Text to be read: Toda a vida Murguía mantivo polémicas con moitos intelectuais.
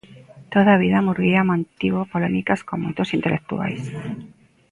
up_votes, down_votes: 1, 2